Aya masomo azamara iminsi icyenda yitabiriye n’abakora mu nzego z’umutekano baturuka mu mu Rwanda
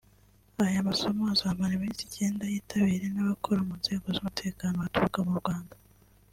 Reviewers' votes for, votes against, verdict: 2, 0, accepted